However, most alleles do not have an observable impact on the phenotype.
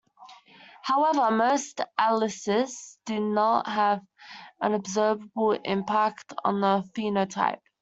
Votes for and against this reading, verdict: 0, 2, rejected